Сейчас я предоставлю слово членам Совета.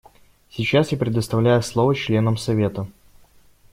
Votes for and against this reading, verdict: 0, 2, rejected